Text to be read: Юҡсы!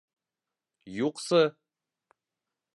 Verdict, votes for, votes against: accepted, 2, 0